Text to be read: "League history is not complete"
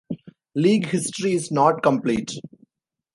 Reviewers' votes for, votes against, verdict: 2, 0, accepted